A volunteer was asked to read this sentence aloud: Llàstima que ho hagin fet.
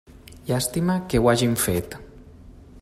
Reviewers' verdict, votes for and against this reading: accepted, 2, 1